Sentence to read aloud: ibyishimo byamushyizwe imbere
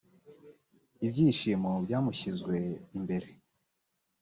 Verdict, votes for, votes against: accepted, 2, 0